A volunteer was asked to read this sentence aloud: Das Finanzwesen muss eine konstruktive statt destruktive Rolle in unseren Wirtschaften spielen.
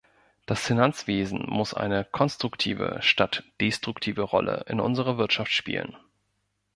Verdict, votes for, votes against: rejected, 0, 2